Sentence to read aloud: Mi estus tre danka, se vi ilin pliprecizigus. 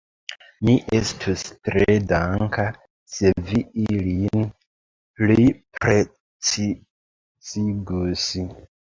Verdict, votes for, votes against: rejected, 1, 2